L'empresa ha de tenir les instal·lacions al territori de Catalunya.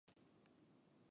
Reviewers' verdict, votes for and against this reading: rejected, 0, 2